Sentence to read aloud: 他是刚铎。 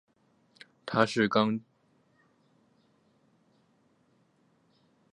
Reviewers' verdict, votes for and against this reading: accepted, 6, 4